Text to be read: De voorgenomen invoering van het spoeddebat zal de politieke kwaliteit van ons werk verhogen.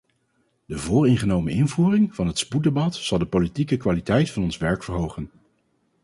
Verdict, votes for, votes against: rejected, 2, 2